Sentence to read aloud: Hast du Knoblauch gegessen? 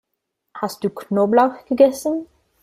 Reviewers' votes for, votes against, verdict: 0, 2, rejected